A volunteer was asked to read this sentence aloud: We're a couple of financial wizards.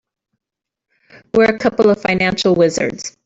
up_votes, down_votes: 1, 2